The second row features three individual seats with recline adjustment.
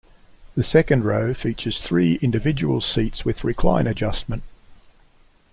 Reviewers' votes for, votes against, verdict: 2, 0, accepted